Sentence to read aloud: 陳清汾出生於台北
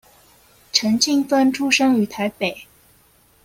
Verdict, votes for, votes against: rejected, 1, 2